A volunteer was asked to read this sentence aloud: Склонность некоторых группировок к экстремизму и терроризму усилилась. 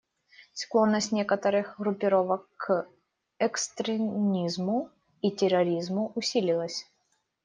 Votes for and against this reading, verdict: 0, 2, rejected